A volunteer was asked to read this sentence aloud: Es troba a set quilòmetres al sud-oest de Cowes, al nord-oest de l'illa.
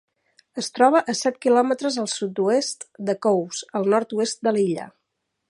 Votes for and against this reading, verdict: 2, 0, accepted